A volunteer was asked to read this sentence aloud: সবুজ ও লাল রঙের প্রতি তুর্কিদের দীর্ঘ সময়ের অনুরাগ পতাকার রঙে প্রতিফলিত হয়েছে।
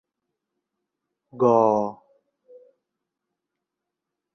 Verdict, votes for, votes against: rejected, 0, 2